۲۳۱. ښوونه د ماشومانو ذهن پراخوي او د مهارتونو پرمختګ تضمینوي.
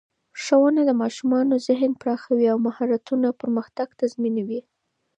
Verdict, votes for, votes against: rejected, 0, 2